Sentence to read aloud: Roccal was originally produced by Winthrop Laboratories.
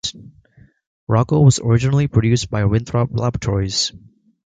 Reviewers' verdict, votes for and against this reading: accepted, 2, 0